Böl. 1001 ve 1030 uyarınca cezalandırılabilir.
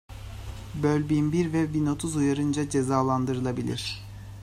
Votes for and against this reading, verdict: 0, 2, rejected